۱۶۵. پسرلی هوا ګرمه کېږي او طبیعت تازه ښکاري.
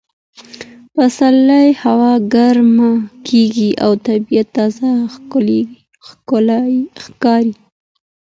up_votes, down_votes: 0, 2